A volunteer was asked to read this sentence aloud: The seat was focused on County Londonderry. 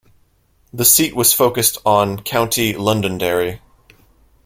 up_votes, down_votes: 2, 0